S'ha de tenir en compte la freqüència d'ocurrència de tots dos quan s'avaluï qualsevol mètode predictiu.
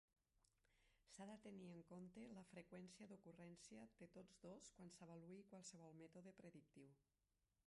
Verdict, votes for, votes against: rejected, 0, 2